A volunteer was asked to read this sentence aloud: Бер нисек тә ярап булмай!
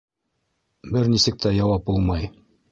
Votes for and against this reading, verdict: 2, 3, rejected